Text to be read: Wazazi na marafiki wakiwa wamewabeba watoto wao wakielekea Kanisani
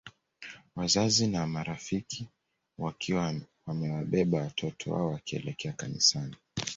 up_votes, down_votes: 1, 2